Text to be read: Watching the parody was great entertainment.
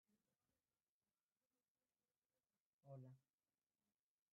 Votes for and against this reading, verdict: 0, 2, rejected